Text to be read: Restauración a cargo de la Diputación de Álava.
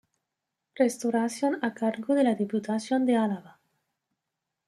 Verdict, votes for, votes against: rejected, 1, 2